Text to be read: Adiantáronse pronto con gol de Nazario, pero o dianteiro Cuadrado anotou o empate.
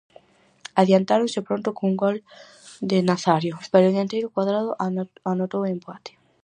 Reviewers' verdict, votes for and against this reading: rejected, 0, 4